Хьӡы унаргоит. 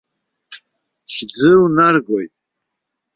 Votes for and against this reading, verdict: 0, 2, rejected